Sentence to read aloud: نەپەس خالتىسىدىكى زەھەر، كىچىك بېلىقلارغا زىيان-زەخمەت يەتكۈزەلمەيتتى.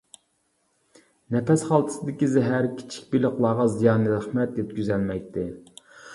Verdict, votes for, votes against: rejected, 1, 2